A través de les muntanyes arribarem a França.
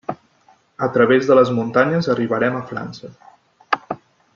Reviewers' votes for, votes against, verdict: 6, 0, accepted